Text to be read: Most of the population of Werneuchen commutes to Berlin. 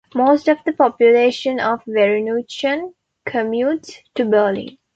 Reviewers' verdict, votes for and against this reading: accepted, 2, 0